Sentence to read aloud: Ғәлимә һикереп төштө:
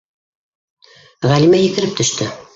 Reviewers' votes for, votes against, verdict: 1, 2, rejected